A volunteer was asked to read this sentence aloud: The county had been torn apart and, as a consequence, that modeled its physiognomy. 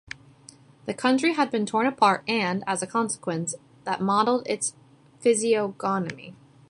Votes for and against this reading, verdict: 1, 2, rejected